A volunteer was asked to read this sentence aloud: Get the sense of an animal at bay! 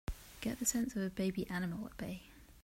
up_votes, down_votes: 0, 2